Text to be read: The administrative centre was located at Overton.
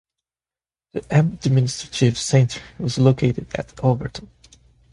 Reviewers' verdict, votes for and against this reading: rejected, 1, 2